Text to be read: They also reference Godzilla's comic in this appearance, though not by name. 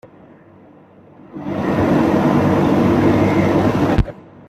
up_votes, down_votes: 0, 2